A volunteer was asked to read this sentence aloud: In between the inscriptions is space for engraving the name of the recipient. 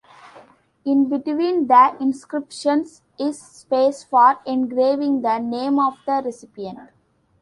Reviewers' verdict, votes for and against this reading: accepted, 2, 0